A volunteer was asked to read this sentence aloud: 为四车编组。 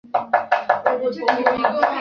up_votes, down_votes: 0, 2